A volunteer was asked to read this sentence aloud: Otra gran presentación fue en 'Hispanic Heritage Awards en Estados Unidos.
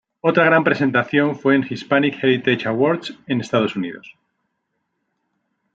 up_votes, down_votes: 2, 1